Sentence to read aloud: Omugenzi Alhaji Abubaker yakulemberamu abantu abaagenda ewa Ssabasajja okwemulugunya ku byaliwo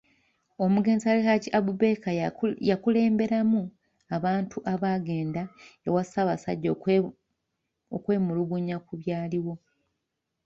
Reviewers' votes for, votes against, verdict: 1, 2, rejected